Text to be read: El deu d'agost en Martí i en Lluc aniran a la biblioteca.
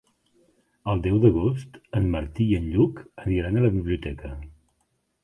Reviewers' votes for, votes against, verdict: 7, 0, accepted